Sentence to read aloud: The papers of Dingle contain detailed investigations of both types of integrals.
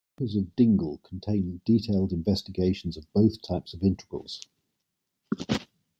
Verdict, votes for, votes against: rejected, 0, 2